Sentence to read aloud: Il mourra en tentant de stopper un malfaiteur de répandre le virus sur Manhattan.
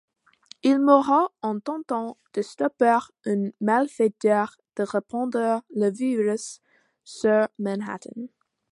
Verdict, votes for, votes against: rejected, 1, 2